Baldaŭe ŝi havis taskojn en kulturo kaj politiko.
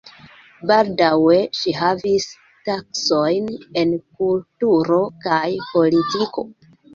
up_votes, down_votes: 2, 1